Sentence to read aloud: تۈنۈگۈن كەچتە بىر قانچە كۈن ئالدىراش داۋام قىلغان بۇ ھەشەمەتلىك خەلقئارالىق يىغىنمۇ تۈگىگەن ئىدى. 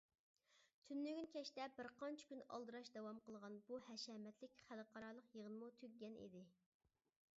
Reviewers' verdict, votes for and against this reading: accepted, 2, 0